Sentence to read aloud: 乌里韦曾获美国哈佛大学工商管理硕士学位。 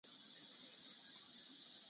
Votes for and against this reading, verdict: 0, 2, rejected